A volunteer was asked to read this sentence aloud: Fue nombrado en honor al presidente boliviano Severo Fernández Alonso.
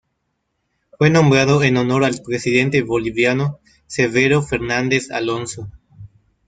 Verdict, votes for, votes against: accepted, 2, 0